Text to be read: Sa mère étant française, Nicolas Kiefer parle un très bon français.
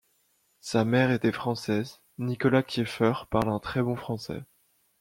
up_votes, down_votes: 0, 2